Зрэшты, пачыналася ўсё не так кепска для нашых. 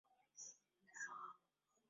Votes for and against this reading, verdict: 0, 3, rejected